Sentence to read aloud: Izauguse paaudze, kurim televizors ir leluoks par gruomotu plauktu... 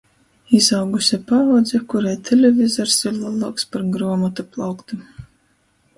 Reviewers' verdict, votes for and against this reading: rejected, 0, 2